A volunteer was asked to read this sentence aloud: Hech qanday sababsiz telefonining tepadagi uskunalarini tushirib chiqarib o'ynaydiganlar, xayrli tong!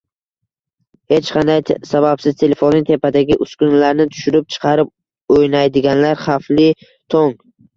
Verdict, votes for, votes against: rejected, 0, 2